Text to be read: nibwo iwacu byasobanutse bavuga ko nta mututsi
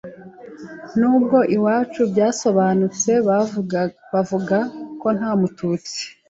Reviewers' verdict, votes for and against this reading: rejected, 0, 2